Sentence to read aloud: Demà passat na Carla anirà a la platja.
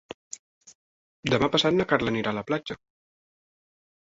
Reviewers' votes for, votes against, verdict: 4, 0, accepted